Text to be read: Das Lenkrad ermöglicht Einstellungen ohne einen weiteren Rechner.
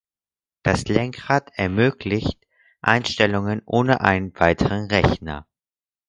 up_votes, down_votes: 2, 4